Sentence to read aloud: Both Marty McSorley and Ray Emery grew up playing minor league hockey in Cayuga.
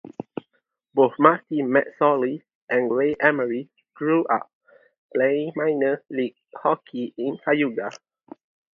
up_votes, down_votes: 2, 0